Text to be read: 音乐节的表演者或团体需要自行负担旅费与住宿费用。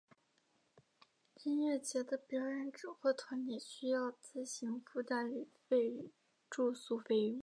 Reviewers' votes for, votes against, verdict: 0, 2, rejected